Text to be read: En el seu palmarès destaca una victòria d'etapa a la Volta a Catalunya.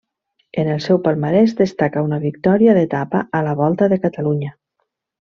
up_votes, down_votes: 0, 2